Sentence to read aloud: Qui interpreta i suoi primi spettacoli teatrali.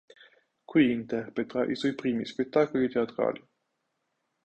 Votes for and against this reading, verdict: 1, 3, rejected